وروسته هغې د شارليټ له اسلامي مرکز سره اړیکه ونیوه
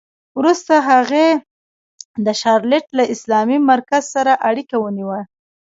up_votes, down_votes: 3, 0